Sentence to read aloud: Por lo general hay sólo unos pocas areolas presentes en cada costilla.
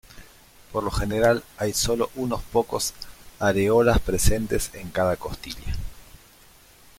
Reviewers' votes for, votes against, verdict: 1, 2, rejected